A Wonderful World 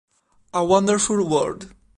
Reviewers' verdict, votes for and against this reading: accepted, 2, 0